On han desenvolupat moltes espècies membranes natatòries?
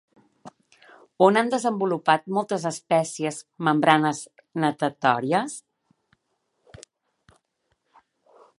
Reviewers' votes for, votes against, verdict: 3, 0, accepted